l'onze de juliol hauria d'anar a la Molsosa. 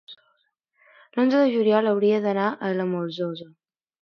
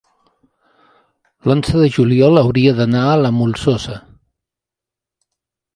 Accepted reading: first